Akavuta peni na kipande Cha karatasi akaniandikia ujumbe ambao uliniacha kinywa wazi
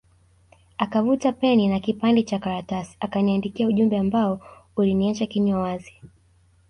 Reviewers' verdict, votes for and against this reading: accepted, 2, 0